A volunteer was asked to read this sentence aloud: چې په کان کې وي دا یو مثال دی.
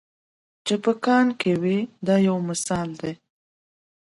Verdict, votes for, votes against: accepted, 2, 0